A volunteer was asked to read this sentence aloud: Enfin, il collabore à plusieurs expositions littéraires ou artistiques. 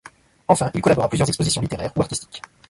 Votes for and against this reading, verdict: 2, 1, accepted